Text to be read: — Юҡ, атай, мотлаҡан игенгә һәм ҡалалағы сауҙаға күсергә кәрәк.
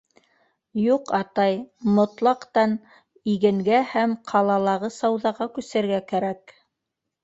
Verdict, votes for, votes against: rejected, 0, 2